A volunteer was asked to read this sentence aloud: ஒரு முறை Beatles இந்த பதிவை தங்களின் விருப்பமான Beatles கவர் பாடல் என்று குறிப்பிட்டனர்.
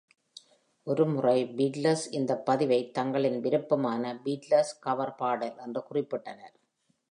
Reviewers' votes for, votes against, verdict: 2, 0, accepted